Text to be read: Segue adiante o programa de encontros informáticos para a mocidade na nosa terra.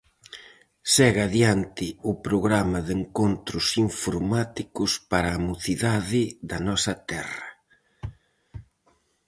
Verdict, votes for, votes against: rejected, 2, 2